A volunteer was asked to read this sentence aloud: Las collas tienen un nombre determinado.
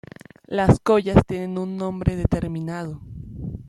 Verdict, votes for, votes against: accepted, 2, 0